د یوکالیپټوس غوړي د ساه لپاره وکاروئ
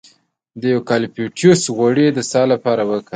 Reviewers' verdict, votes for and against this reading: accepted, 4, 0